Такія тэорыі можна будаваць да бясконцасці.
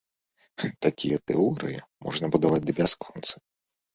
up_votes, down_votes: 0, 3